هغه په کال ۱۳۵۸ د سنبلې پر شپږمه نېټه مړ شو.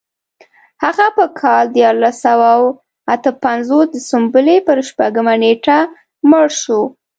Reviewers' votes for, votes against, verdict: 0, 2, rejected